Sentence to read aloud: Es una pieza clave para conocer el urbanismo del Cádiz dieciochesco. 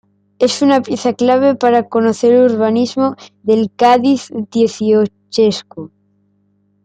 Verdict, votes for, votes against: accepted, 2, 0